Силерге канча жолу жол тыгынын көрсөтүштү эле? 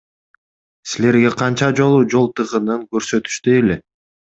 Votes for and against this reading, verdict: 2, 0, accepted